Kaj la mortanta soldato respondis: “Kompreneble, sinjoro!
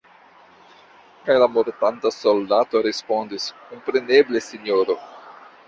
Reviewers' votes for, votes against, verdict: 1, 2, rejected